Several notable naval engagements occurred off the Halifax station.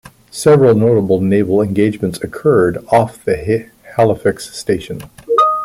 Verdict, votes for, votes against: accepted, 2, 0